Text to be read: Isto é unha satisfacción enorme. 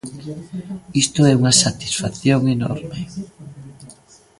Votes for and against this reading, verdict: 0, 2, rejected